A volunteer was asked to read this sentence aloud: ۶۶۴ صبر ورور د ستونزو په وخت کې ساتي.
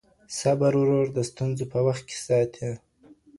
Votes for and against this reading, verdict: 0, 2, rejected